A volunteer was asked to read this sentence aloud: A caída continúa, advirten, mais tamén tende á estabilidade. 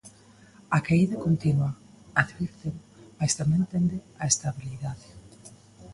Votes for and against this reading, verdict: 1, 2, rejected